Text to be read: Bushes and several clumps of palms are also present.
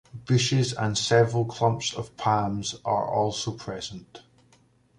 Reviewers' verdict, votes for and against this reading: accepted, 2, 0